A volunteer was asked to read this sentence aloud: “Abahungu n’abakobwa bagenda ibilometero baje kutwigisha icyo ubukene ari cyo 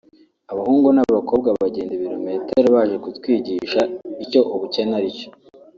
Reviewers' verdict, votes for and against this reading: accepted, 2, 1